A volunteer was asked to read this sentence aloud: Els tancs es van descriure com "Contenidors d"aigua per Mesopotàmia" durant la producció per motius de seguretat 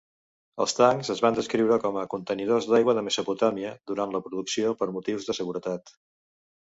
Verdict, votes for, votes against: rejected, 1, 2